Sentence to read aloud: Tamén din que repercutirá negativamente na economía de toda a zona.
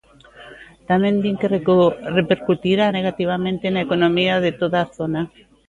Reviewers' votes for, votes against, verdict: 0, 2, rejected